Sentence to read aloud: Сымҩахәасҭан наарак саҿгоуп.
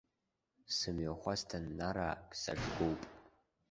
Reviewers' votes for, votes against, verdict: 1, 2, rejected